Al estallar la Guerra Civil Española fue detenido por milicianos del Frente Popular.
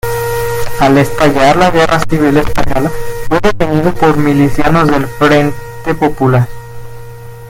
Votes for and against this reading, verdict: 0, 2, rejected